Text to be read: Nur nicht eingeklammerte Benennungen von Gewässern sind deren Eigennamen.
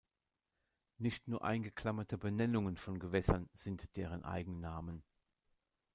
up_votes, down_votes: 0, 2